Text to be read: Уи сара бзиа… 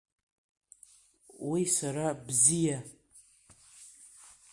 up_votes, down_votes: 0, 2